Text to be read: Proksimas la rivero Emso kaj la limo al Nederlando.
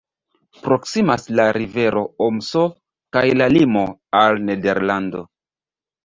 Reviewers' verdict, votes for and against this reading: rejected, 4, 5